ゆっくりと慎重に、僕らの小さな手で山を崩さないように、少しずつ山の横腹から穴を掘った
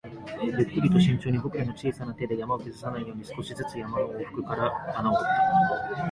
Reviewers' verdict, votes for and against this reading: rejected, 1, 2